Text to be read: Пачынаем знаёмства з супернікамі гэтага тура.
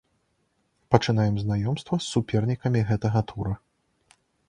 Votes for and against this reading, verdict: 2, 0, accepted